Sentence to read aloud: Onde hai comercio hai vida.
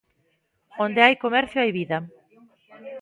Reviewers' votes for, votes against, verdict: 1, 2, rejected